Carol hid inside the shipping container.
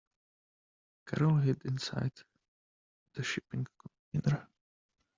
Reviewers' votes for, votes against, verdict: 0, 2, rejected